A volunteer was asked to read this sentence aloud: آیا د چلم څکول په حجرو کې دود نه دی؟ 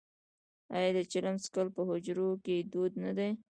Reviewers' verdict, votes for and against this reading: rejected, 0, 2